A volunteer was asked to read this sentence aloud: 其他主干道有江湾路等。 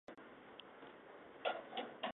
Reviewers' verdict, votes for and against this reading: rejected, 0, 3